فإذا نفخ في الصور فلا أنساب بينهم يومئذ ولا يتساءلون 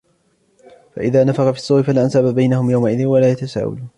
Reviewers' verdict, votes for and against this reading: rejected, 1, 2